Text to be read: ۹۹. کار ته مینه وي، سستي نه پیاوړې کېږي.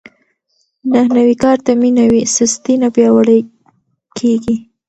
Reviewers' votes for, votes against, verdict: 0, 2, rejected